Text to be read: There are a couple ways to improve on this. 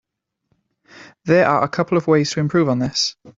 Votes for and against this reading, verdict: 0, 2, rejected